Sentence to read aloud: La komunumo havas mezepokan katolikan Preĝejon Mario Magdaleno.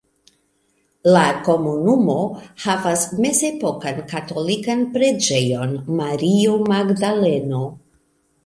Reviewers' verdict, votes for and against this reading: accepted, 2, 0